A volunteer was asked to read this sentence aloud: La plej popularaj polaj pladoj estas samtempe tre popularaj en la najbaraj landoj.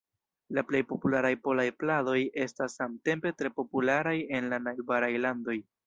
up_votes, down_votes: 2, 0